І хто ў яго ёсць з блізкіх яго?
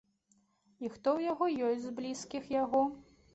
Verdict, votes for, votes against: accepted, 2, 0